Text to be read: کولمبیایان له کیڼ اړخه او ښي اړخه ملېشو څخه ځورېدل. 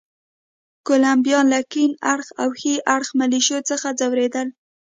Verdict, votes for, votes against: accepted, 2, 0